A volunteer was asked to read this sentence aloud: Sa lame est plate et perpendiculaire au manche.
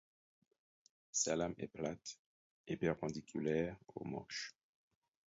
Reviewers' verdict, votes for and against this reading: accepted, 4, 0